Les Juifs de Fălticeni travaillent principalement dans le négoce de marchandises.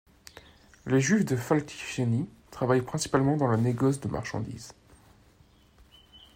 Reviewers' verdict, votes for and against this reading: rejected, 0, 2